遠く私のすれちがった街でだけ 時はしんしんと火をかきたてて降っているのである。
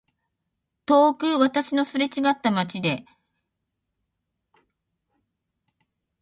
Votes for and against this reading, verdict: 2, 1, accepted